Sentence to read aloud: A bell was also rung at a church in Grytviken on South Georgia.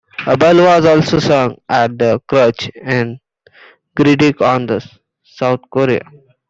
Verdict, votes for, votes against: rejected, 0, 2